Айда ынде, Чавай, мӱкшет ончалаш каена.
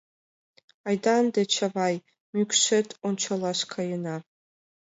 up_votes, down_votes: 2, 0